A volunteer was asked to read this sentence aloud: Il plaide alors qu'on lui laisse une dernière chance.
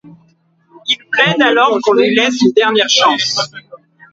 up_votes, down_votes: 1, 2